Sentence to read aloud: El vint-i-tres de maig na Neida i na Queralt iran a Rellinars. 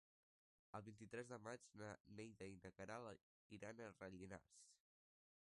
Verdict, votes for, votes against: rejected, 0, 2